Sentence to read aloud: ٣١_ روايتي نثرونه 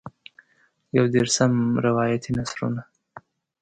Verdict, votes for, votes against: rejected, 0, 2